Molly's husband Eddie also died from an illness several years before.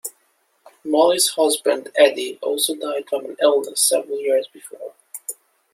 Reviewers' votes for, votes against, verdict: 2, 0, accepted